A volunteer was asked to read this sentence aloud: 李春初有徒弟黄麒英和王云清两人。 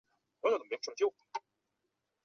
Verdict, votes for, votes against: rejected, 0, 2